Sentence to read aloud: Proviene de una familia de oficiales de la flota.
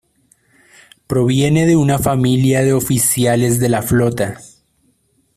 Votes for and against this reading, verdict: 2, 1, accepted